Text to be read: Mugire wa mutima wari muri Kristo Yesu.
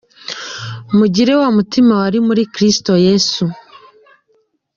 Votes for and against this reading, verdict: 2, 0, accepted